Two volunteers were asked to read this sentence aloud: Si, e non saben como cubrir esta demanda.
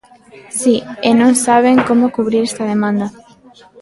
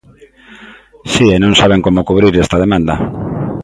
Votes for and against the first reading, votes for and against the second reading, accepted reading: 1, 2, 2, 0, second